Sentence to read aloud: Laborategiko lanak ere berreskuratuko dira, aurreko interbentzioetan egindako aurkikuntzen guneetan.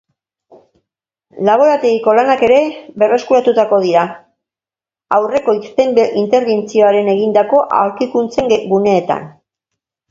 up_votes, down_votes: 2, 2